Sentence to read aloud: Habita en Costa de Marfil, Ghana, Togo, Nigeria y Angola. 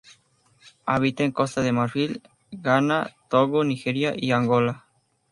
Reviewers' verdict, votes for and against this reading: rejected, 2, 2